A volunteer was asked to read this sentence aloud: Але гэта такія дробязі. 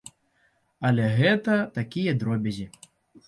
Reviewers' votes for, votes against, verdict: 2, 0, accepted